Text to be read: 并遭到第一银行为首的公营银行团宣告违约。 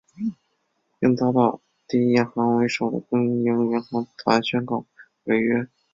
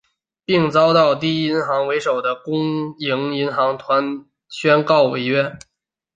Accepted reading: second